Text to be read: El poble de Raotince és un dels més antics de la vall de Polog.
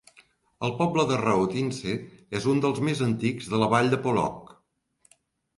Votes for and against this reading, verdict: 2, 0, accepted